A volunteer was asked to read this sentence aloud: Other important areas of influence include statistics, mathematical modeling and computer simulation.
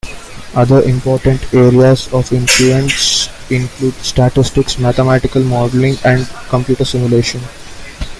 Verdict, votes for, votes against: rejected, 0, 2